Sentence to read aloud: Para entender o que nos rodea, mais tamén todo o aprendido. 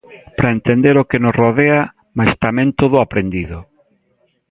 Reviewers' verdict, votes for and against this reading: accepted, 2, 0